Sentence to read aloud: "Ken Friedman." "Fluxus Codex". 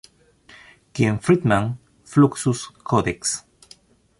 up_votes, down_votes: 2, 0